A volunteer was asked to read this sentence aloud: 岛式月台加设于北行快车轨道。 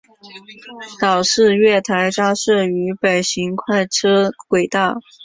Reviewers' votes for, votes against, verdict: 6, 0, accepted